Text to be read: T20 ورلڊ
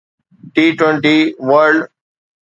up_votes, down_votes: 0, 2